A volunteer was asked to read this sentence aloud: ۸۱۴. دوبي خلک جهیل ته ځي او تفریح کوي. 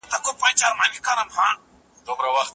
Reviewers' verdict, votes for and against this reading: rejected, 0, 2